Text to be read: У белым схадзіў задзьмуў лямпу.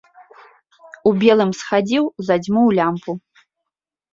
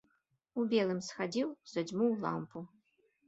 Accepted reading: first